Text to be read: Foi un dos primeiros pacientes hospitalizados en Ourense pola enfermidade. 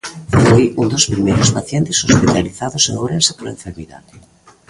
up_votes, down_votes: 0, 2